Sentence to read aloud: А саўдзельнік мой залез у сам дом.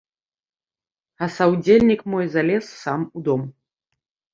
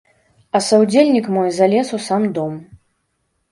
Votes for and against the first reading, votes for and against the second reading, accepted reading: 0, 2, 2, 0, second